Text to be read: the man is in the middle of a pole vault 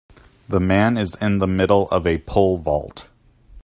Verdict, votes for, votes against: accepted, 3, 0